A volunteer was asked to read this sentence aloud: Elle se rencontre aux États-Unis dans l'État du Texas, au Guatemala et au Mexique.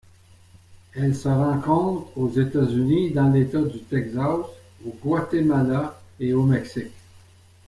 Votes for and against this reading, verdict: 2, 0, accepted